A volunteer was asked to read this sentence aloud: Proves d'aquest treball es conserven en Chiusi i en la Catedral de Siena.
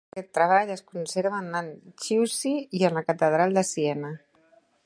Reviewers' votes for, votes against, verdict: 0, 3, rejected